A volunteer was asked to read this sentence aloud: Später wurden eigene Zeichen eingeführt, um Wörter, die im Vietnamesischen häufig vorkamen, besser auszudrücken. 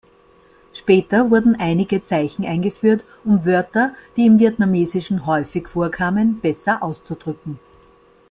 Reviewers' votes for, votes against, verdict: 0, 2, rejected